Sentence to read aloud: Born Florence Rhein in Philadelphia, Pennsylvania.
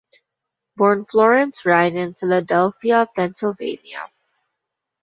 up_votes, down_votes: 1, 2